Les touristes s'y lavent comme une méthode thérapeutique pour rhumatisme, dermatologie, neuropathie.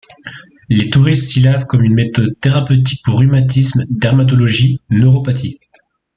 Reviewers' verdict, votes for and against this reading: accepted, 2, 0